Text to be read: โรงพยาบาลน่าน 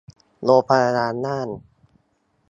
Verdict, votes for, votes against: rejected, 1, 2